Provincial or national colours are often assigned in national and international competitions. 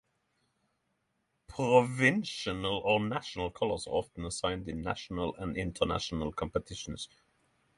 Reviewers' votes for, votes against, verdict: 3, 3, rejected